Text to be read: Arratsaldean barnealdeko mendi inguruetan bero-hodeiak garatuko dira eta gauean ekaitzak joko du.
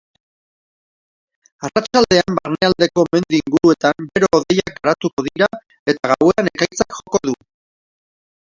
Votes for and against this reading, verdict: 0, 2, rejected